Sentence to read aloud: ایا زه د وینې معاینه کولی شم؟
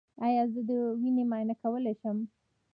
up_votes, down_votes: 2, 0